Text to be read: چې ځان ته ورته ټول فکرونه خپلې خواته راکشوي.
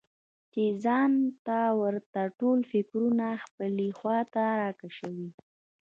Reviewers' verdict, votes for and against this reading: rejected, 0, 2